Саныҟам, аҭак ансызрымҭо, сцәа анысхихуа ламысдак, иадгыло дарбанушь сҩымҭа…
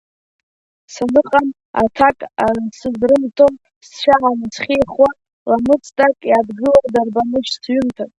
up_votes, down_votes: 0, 2